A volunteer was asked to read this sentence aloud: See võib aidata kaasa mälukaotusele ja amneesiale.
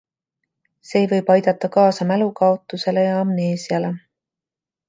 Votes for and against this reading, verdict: 2, 0, accepted